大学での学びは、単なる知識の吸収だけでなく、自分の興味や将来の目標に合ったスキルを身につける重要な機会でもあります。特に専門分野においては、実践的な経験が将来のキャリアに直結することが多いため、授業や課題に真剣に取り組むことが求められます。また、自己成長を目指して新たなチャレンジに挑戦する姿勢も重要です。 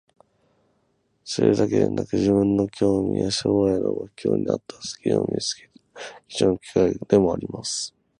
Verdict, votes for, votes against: rejected, 36, 42